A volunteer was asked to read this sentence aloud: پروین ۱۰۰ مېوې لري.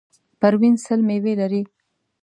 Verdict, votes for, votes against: rejected, 0, 2